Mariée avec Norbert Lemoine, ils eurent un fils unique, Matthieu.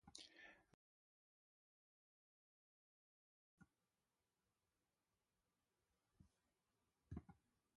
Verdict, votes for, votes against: rejected, 0, 2